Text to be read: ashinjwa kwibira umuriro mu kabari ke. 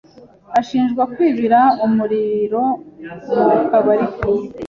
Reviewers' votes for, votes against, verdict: 2, 0, accepted